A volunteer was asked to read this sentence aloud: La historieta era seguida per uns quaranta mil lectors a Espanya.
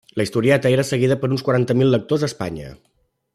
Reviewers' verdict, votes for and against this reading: accepted, 2, 0